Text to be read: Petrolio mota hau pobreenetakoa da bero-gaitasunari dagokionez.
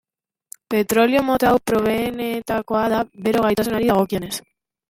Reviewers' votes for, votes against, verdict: 0, 2, rejected